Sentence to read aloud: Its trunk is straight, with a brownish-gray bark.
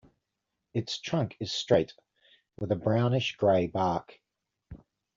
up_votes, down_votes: 1, 2